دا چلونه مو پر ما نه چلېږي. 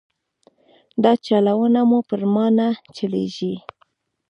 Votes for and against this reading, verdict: 0, 2, rejected